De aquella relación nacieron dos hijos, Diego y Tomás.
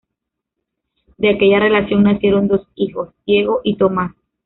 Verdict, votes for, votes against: rejected, 1, 2